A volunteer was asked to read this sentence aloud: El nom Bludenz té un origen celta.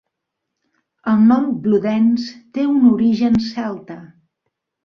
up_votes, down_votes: 2, 0